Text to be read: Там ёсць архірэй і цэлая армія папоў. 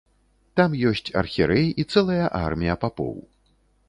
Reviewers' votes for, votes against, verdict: 2, 0, accepted